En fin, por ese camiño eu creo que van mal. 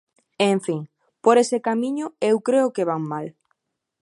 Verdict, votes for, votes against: accepted, 2, 0